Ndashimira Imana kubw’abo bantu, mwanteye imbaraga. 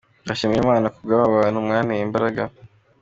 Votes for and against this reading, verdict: 2, 0, accepted